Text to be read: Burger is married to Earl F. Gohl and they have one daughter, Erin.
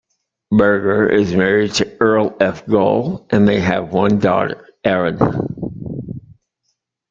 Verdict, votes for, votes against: accepted, 2, 0